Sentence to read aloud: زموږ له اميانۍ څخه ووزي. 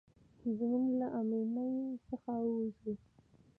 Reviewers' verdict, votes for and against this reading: rejected, 1, 2